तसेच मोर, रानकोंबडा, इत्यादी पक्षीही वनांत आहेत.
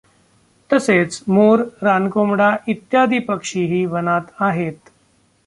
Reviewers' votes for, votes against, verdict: 2, 1, accepted